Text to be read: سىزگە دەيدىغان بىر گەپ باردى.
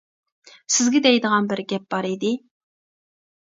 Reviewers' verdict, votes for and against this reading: rejected, 0, 2